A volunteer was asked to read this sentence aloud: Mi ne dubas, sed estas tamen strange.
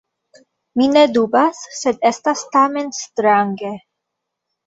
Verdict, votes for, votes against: accepted, 2, 1